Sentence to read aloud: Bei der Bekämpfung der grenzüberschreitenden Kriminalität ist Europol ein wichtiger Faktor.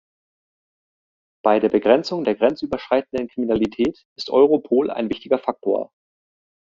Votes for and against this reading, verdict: 0, 3, rejected